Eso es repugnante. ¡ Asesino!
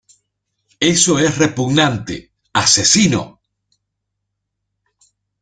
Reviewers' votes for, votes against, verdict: 2, 0, accepted